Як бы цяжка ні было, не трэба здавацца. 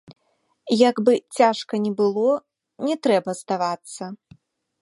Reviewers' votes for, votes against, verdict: 2, 0, accepted